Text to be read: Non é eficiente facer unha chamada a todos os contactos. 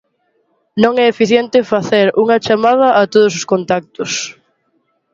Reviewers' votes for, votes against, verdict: 2, 0, accepted